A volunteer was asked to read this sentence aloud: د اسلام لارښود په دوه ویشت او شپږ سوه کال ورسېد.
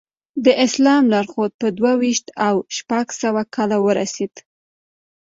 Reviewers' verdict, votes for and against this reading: accepted, 2, 0